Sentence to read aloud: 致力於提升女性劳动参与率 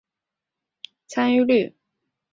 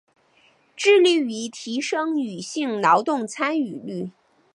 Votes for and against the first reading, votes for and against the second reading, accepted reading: 0, 2, 2, 0, second